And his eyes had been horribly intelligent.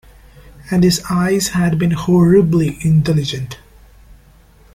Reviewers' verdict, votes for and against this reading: accepted, 2, 0